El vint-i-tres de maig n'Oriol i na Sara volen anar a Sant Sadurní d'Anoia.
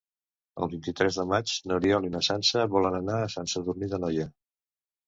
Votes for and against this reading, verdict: 1, 2, rejected